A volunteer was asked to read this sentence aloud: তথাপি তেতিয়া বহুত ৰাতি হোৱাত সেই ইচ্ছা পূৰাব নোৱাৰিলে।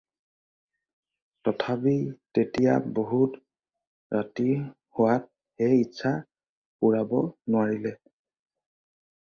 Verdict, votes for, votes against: accepted, 4, 0